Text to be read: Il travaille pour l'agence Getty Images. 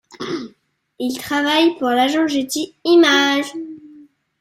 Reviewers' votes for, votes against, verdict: 1, 2, rejected